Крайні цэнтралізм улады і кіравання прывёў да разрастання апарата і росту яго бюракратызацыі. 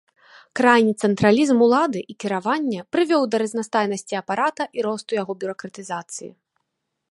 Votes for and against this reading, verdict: 2, 3, rejected